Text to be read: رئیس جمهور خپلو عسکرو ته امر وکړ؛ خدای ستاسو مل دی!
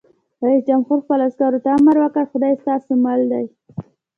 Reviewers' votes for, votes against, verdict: 2, 0, accepted